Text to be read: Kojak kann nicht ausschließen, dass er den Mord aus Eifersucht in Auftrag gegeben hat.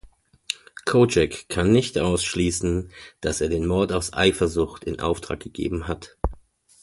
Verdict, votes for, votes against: accepted, 2, 0